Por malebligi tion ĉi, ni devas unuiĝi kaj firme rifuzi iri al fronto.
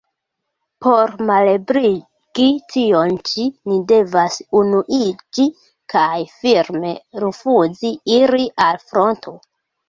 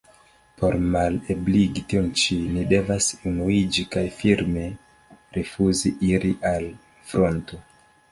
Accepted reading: second